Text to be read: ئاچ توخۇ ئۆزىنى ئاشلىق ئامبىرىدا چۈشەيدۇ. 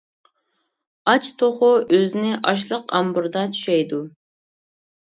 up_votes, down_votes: 2, 0